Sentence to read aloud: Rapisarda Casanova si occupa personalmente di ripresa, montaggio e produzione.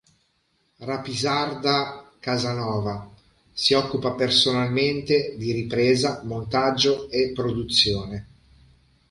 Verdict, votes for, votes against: accepted, 2, 0